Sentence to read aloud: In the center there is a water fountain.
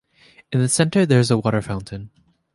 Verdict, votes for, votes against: accepted, 2, 0